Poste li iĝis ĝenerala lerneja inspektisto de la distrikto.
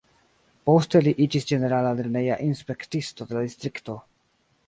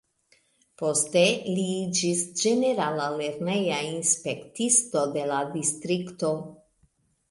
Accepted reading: second